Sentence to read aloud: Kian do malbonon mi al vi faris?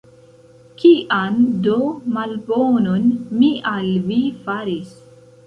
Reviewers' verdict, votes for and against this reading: rejected, 1, 2